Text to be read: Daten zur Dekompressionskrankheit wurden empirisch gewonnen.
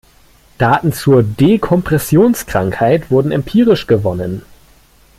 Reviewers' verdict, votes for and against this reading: accepted, 2, 0